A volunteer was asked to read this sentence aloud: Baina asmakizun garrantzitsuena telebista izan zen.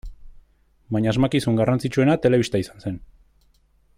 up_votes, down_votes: 2, 0